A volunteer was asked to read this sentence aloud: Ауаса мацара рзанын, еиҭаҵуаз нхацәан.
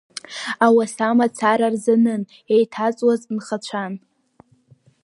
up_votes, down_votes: 7, 0